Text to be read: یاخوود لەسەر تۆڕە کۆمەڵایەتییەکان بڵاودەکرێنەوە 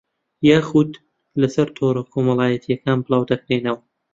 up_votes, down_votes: 2, 1